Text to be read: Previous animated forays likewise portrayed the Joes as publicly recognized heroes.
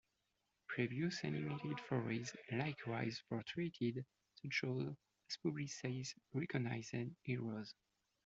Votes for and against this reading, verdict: 0, 2, rejected